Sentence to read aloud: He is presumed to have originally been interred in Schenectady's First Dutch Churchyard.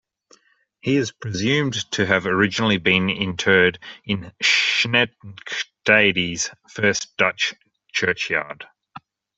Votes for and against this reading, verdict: 1, 2, rejected